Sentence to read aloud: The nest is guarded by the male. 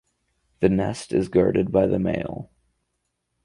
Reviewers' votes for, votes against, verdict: 4, 0, accepted